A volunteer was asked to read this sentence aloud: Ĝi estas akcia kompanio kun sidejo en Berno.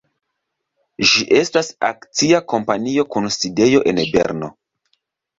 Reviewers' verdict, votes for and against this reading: accepted, 2, 0